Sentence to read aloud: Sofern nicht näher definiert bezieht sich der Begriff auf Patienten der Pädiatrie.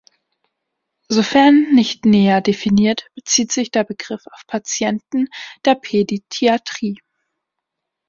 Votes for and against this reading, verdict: 1, 2, rejected